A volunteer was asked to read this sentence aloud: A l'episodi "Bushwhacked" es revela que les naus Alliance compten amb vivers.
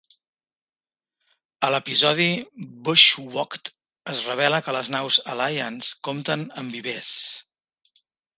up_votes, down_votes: 2, 0